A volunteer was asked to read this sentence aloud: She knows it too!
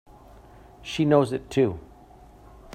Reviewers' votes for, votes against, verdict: 2, 0, accepted